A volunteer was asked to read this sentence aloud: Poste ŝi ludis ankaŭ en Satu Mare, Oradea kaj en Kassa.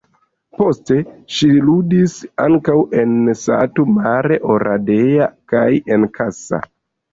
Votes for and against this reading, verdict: 2, 0, accepted